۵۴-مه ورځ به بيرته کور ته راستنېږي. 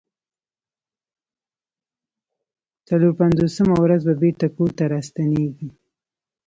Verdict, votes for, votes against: rejected, 0, 2